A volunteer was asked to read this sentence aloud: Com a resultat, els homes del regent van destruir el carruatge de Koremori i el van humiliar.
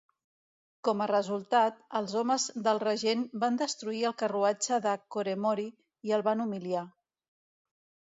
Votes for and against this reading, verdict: 2, 0, accepted